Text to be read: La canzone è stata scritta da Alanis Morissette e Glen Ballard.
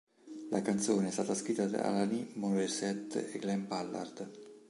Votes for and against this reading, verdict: 2, 0, accepted